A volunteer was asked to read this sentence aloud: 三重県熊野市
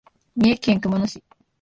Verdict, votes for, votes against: accepted, 2, 0